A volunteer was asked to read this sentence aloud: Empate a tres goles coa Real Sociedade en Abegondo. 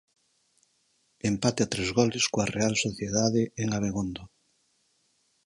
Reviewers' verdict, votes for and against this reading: accepted, 4, 0